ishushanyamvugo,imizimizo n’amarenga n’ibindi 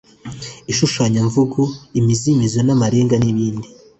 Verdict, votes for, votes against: accepted, 2, 0